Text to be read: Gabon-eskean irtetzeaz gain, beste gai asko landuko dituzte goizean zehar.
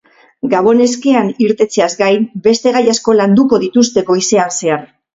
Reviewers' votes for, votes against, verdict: 6, 0, accepted